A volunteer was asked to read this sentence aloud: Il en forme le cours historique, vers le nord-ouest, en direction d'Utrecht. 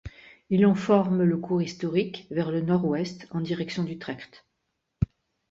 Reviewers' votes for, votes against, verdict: 2, 0, accepted